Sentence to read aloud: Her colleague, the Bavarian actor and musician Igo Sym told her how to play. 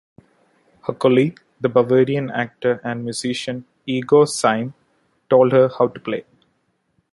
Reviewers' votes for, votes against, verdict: 2, 0, accepted